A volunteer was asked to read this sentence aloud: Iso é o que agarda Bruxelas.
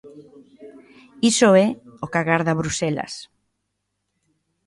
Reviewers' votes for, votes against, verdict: 1, 2, rejected